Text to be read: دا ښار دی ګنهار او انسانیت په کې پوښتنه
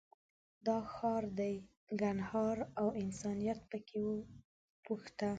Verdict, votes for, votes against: rejected, 0, 2